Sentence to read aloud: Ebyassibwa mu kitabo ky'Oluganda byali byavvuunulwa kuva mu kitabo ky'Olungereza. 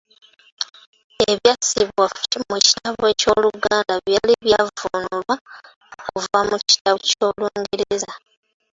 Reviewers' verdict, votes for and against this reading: rejected, 0, 2